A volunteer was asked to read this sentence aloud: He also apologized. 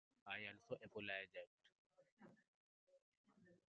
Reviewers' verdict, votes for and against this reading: rejected, 0, 2